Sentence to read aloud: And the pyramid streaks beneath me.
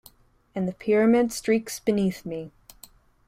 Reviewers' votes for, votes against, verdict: 2, 0, accepted